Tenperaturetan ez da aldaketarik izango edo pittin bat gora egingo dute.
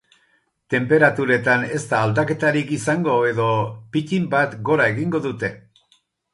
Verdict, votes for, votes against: accepted, 4, 0